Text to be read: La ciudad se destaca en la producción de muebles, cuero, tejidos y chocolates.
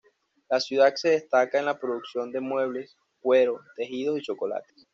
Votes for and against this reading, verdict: 2, 0, accepted